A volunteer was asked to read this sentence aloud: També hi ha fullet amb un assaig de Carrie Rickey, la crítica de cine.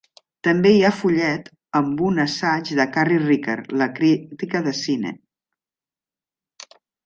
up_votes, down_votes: 0, 2